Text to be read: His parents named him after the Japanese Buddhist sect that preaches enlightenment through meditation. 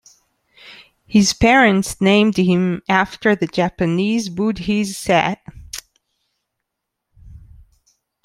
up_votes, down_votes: 0, 2